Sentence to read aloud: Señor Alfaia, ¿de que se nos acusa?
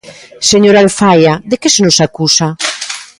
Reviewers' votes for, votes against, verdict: 2, 0, accepted